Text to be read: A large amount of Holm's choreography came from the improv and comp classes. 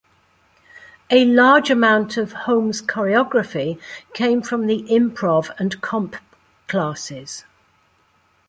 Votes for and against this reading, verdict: 2, 0, accepted